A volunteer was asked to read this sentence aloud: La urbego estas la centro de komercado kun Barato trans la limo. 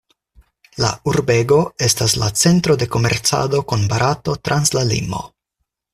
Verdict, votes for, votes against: accepted, 4, 0